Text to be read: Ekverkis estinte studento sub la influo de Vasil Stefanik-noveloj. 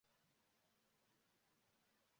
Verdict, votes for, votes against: rejected, 0, 2